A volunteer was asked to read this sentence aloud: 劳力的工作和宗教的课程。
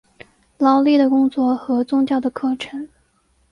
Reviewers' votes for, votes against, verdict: 1, 2, rejected